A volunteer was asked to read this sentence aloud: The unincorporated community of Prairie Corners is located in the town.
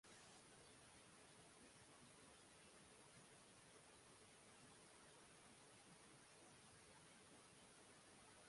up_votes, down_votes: 0, 2